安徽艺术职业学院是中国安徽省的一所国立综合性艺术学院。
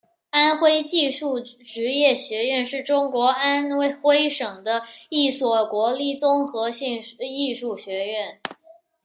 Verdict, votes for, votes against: rejected, 0, 2